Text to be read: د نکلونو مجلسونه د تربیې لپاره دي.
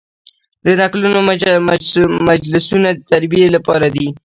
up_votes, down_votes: 0, 2